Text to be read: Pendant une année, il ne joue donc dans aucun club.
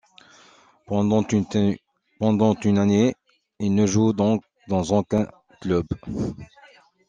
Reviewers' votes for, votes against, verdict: 0, 2, rejected